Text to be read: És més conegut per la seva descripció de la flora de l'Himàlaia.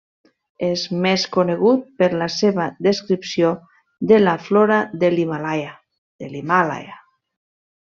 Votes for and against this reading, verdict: 0, 2, rejected